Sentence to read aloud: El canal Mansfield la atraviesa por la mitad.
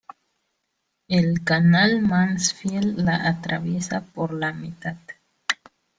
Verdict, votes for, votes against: rejected, 0, 2